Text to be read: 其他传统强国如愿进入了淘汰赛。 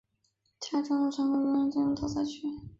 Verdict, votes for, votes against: rejected, 1, 3